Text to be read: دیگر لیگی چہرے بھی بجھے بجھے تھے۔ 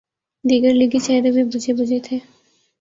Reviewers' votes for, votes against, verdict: 1, 2, rejected